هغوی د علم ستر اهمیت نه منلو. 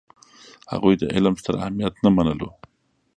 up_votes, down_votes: 2, 1